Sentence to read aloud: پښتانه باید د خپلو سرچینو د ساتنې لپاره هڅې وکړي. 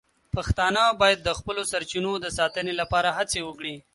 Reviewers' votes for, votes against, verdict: 2, 0, accepted